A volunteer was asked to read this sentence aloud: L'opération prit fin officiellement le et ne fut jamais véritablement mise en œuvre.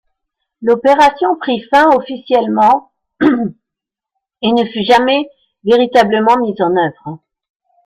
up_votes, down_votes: 0, 2